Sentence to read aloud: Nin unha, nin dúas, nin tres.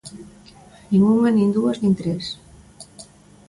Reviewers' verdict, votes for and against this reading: accepted, 2, 0